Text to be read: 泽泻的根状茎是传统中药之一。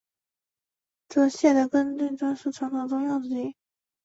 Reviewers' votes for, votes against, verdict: 1, 3, rejected